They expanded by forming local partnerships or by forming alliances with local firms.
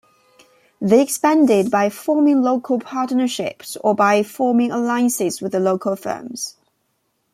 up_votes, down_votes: 1, 2